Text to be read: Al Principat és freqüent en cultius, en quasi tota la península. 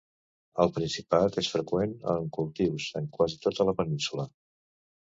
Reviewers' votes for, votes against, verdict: 2, 0, accepted